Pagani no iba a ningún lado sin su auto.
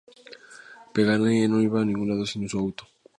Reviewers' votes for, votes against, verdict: 0, 2, rejected